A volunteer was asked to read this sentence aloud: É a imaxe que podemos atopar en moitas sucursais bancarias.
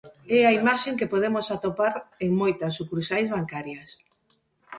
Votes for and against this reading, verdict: 0, 2, rejected